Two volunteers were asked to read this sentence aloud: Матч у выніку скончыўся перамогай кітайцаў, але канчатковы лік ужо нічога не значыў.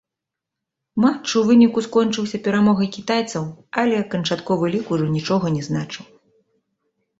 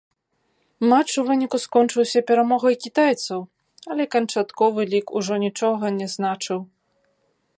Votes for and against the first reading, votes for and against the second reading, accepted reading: 2, 1, 0, 2, first